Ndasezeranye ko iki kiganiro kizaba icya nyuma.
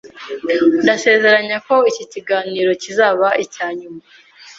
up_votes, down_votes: 1, 2